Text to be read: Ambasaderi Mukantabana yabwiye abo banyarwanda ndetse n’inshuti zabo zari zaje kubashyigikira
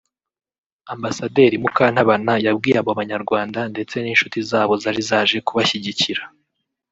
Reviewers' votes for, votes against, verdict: 2, 0, accepted